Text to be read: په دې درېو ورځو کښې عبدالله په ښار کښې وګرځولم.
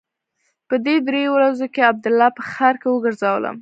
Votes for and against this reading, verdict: 1, 2, rejected